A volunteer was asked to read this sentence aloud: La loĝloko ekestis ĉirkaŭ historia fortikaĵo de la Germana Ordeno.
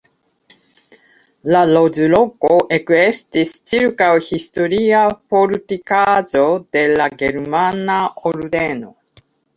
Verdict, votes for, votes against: rejected, 0, 2